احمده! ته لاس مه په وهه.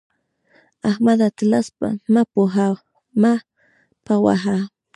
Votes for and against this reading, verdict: 1, 2, rejected